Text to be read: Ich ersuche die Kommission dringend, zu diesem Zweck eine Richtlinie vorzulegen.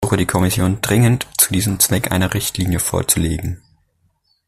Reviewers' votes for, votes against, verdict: 0, 2, rejected